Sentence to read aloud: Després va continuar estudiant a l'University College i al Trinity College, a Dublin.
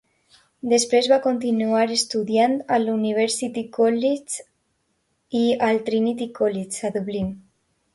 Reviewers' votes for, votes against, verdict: 3, 2, accepted